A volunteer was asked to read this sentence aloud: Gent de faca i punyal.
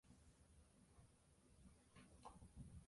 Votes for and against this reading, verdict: 0, 3, rejected